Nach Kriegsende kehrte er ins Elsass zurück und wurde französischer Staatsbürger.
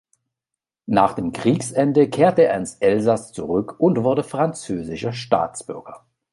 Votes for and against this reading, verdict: 1, 2, rejected